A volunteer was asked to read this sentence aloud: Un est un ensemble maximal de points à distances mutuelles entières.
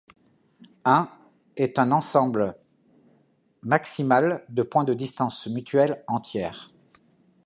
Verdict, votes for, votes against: rejected, 0, 2